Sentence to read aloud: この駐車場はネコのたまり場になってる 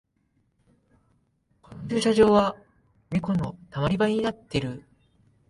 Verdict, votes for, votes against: rejected, 0, 2